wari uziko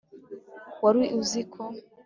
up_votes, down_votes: 5, 0